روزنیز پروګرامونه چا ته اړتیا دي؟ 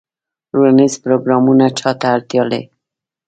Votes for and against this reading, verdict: 0, 2, rejected